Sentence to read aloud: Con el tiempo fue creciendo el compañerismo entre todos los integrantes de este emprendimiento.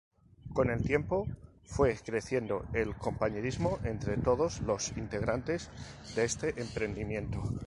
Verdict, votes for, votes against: accepted, 2, 0